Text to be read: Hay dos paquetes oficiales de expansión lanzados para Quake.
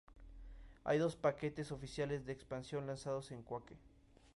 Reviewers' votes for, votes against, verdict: 0, 2, rejected